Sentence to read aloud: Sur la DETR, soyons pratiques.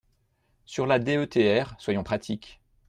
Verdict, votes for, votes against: accepted, 2, 0